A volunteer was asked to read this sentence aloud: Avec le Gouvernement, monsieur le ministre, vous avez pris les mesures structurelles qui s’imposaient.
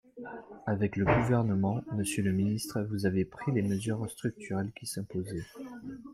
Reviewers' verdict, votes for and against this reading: accepted, 2, 0